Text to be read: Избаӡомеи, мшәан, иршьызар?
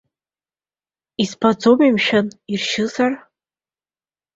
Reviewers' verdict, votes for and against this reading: accepted, 2, 1